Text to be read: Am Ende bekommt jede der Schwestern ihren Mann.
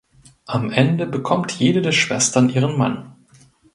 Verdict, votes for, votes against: accepted, 2, 0